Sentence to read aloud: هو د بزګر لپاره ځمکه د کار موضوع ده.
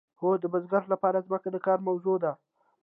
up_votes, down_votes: 2, 0